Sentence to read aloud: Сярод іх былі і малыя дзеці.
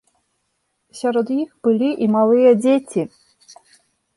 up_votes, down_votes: 2, 0